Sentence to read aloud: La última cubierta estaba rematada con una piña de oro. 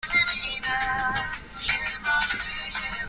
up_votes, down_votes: 0, 2